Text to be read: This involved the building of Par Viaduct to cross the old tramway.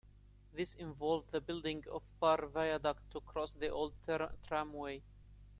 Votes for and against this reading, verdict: 0, 2, rejected